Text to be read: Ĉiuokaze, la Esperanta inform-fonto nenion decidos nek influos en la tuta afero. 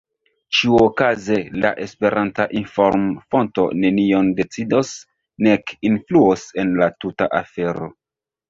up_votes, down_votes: 1, 2